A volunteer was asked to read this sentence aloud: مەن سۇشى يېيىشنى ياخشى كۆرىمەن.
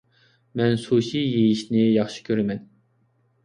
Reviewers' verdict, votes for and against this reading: accepted, 2, 0